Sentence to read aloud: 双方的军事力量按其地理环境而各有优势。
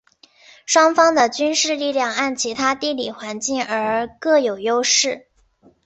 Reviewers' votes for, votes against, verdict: 2, 1, accepted